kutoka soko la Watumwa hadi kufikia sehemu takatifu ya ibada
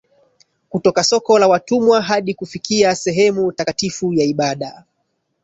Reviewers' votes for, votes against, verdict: 1, 2, rejected